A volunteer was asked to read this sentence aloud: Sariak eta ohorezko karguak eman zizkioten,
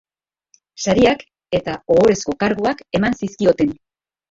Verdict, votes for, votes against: rejected, 0, 2